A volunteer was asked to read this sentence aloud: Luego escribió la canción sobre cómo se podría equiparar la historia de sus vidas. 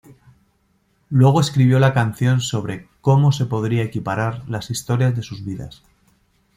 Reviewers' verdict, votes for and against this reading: rejected, 1, 2